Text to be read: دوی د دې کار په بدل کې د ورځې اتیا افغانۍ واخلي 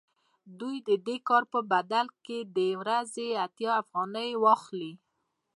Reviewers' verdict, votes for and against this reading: rejected, 1, 2